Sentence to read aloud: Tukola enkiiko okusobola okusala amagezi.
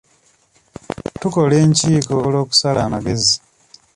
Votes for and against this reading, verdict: 1, 2, rejected